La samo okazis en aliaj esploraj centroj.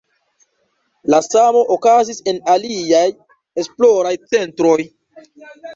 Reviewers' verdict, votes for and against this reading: rejected, 1, 2